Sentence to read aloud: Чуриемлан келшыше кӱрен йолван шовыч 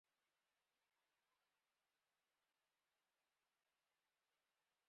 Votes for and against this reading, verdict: 0, 2, rejected